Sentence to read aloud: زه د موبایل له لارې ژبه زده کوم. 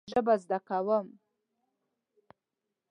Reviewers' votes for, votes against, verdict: 0, 2, rejected